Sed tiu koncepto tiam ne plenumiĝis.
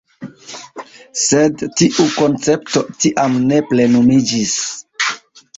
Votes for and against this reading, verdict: 2, 0, accepted